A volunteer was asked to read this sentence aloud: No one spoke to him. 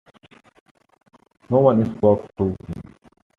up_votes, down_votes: 2, 1